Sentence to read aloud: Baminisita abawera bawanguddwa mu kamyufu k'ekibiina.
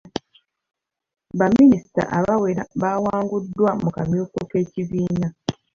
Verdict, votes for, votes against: rejected, 1, 2